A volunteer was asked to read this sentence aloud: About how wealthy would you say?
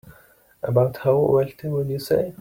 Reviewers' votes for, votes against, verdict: 2, 0, accepted